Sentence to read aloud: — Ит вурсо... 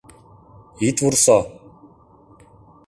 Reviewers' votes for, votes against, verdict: 2, 0, accepted